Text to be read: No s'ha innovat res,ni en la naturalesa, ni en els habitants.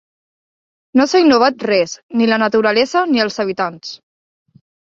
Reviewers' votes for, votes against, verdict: 1, 2, rejected